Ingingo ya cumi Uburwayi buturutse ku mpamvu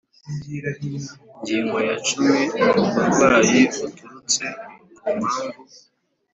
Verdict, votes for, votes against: rejected, 1, 2